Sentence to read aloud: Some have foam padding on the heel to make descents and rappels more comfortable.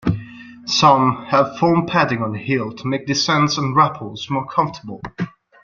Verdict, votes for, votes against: rejected, 1, 2